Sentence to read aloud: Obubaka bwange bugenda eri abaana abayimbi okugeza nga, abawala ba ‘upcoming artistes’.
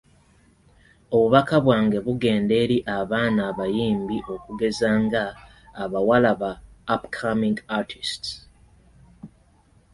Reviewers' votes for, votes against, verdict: 2, 0, accepted